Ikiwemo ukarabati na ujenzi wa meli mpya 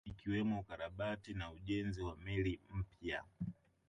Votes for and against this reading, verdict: 1, 2, rejected